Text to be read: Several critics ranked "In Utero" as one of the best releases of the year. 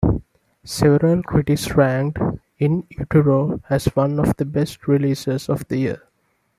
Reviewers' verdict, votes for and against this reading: accepted, 2, 0